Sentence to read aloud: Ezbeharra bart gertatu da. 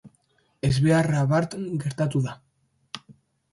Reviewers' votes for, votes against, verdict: 2, 0, accepted